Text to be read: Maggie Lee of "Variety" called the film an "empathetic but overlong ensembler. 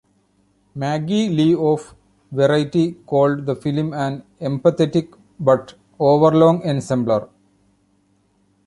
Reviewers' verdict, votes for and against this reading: rejected, 1, 2